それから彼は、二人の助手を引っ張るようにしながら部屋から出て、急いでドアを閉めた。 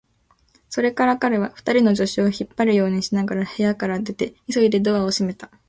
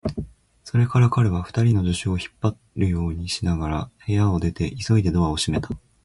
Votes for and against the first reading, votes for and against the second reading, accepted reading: 2, 0, 1, 2, first